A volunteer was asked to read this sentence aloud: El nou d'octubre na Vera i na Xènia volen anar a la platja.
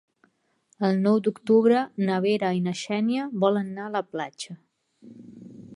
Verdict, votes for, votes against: rejected, 0, 2